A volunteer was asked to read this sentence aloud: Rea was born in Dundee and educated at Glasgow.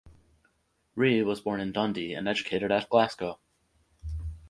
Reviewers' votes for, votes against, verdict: 4, 2, accepted